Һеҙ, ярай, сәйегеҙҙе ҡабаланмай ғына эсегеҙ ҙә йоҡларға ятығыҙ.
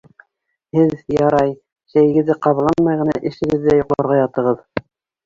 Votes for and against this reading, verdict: 1, 2, rejected